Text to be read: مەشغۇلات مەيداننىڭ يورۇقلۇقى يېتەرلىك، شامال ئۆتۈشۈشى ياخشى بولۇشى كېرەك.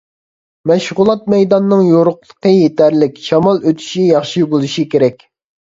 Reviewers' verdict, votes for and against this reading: rejected, 1, 2